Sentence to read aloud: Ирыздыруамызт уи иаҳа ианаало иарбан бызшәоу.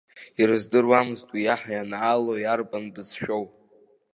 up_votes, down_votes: 1, 2